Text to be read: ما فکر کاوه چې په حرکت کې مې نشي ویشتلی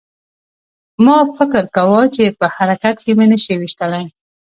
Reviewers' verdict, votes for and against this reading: rejected, 1, 2